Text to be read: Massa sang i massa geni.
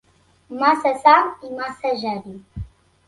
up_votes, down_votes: 2, 0